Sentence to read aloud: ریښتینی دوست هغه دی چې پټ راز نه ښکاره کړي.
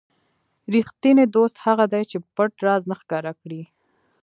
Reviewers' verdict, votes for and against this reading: accepted, 3, 0